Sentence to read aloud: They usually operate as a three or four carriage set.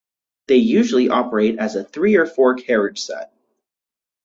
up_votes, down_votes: 2, 2